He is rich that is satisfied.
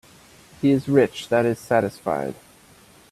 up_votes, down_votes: 2, 0